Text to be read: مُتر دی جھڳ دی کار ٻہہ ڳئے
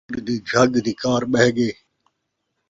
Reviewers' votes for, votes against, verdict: 0, 2, rejected